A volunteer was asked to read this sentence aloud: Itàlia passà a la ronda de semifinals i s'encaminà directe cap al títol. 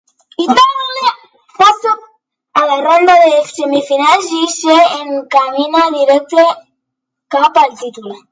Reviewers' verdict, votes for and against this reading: rejected, 0, 2